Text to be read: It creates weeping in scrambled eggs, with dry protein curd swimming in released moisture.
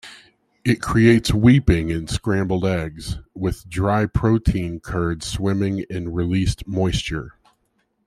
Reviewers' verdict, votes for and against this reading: accepted, 2, 0